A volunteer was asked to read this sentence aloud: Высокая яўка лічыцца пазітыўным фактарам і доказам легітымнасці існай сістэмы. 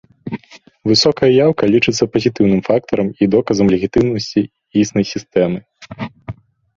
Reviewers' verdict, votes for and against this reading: accepted, 2, 1